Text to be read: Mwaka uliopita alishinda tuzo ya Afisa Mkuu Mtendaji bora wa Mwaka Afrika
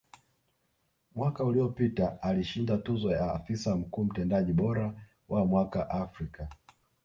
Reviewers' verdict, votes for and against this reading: accepted, 2, 0